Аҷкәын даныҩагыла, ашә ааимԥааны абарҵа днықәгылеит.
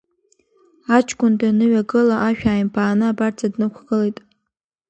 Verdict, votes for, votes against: accepted, 2, 0